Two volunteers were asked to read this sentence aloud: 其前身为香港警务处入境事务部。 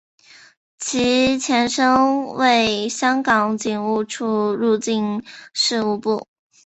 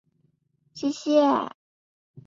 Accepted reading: first